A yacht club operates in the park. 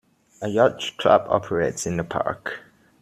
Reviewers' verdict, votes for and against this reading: rejected, 0, 2